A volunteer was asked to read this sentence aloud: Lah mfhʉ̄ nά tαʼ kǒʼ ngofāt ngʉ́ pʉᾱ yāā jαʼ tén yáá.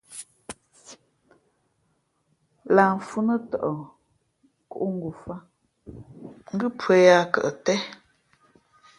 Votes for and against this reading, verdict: 2, 0, accepted